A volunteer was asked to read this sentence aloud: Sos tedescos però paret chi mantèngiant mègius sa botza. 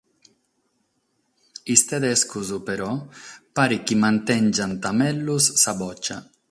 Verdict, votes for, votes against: accepted, 6, 3